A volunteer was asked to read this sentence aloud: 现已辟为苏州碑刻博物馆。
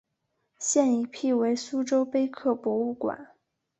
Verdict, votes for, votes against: accepted, 2, 0